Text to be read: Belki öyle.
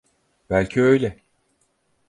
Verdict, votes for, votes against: accepted, 4, 0